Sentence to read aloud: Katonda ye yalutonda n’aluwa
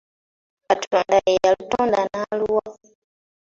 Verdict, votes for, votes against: rejected, 0, 2